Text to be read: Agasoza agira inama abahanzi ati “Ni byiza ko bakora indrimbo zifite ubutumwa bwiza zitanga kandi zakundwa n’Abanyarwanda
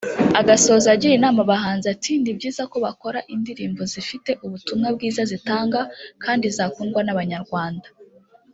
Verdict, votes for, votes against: rejected, 1, 2